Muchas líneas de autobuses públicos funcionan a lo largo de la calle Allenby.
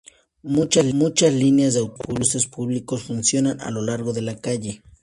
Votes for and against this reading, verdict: 0, 2, rejected